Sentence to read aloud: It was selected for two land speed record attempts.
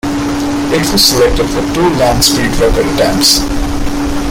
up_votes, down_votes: 0, 2